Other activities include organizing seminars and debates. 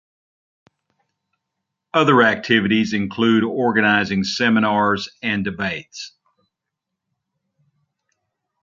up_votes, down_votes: 2, 0